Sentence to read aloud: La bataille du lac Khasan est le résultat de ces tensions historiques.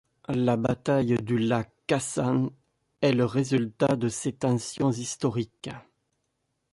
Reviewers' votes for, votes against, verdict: 2, 0, accepted